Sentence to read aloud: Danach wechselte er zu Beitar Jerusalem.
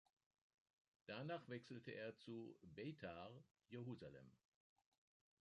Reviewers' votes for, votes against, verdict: 2, 0, accepted